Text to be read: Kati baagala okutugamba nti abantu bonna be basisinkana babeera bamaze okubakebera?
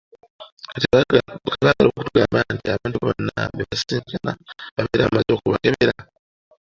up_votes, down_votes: 0, 2